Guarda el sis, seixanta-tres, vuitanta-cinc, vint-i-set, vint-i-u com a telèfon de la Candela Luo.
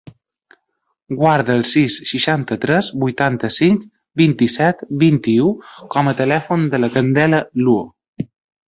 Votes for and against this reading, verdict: 3, 0, accepted